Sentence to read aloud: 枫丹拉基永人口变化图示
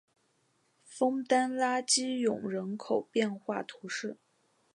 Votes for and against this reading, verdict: 3, 1, accepted